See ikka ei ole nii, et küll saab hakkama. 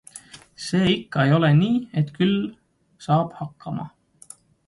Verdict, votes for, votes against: accepted, 2, 0